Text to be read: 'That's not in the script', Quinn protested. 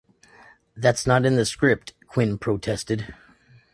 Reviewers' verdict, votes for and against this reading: accepted, 2, 0